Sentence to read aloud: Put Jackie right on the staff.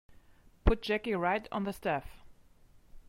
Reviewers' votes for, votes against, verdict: 3, 0, accepted